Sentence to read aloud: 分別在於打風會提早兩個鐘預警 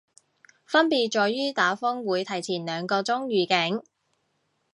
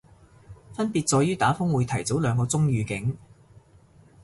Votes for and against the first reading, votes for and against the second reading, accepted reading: 2, 2, 3, 0, second